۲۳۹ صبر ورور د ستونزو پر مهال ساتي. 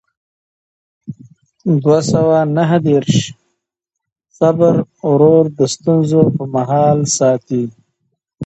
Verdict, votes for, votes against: rejected, 0, 2